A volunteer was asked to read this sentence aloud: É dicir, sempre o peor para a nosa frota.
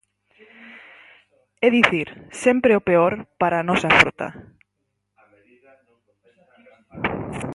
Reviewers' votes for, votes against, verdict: 2, 4, rejected